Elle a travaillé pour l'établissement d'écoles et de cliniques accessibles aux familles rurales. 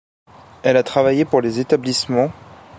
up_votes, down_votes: 0, 2